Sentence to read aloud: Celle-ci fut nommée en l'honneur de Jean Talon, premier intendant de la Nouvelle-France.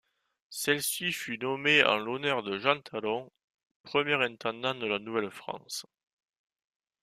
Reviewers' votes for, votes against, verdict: 2, 0, accepted